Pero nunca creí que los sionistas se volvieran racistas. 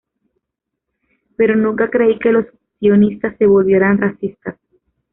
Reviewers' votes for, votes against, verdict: 2, 1, accepted